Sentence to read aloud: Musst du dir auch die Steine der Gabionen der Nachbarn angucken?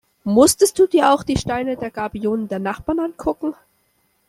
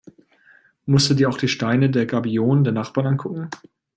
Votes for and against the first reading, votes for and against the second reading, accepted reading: 0, 2, 2, 0, second